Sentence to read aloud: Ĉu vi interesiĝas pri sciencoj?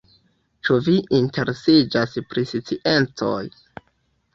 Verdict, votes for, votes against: rejected, 0, 2